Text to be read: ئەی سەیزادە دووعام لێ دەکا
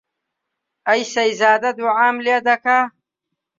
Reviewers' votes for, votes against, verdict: 2, 0, accepted